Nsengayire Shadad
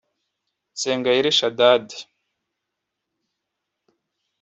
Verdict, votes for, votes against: rejected, 0, 2